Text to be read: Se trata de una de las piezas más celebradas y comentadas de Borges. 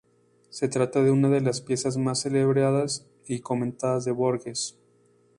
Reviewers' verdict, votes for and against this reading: accepted, 2, 0